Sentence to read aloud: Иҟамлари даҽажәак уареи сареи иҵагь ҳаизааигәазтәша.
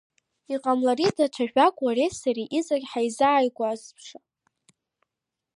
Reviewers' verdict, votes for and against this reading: accepted, 2, 0